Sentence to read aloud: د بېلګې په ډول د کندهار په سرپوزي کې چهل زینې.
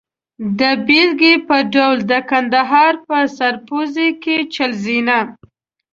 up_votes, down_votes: 0, 2